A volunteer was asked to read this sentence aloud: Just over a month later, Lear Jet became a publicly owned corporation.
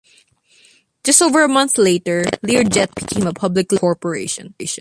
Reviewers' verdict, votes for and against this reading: rejected, 0, 2